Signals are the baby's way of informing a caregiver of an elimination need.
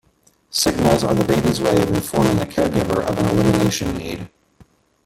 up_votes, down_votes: 1, 2